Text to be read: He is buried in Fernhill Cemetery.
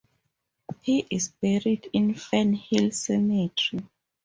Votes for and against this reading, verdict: 4, 0, accepted